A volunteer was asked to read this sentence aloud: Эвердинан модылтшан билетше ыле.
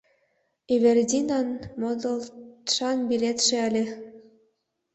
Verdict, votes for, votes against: rejected, 0, 2